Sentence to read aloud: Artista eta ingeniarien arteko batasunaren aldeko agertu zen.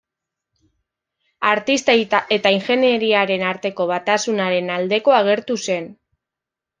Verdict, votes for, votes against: rejected, 1, 2